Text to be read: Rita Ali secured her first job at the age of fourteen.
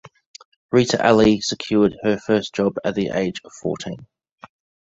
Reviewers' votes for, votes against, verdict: 2, 1, accepted